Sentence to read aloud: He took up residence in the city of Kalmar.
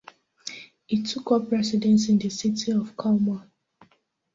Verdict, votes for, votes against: accepted, 2, 0